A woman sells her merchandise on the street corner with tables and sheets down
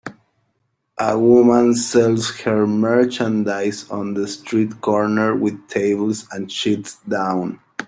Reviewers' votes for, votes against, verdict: 2, 1, accepted